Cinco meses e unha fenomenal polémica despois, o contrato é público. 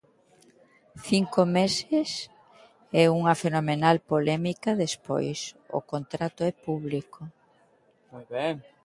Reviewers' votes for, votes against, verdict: 0, 2, rejected